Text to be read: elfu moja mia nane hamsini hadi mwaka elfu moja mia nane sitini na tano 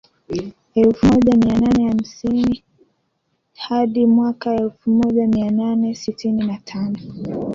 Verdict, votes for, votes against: rejected, 1, 2